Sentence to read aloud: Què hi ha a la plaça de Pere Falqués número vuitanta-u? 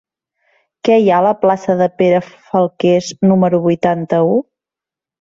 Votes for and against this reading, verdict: 3, 0, accepted